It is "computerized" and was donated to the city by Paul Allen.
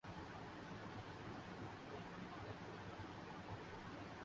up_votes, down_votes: 0, 4